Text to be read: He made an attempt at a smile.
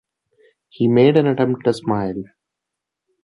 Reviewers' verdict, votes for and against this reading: accepted, 2, 1